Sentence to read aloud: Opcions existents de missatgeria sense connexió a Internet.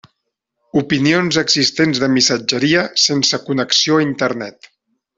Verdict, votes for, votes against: rejected, 0, 2